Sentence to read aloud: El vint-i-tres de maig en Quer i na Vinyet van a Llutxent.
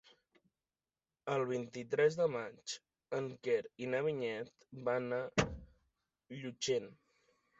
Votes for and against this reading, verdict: 3, 0, accepted